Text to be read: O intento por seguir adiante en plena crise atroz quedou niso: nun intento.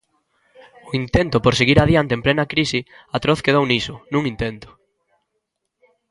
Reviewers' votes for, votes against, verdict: 1, 2, rejected